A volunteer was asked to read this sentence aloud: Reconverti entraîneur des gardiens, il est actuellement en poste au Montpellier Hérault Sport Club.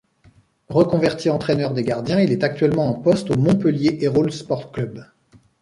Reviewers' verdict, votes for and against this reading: rejected, 0, 2